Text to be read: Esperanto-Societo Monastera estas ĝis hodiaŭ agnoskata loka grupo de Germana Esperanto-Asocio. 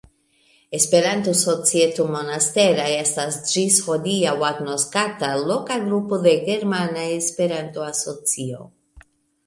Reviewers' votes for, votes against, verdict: 2, 0, accepted